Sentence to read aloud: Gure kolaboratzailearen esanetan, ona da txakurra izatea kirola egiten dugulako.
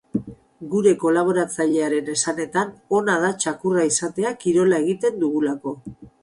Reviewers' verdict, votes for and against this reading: rejected, 2, 2